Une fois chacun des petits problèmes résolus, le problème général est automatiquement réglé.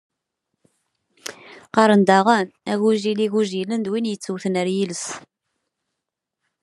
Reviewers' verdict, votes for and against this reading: rejected, 0, 2